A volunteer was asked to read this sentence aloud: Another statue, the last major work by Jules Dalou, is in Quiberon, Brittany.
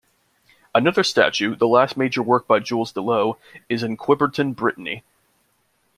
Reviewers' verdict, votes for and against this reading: rejected, 1, 2